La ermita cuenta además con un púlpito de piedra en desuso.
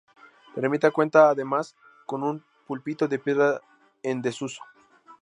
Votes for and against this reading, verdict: 2, 0, accepted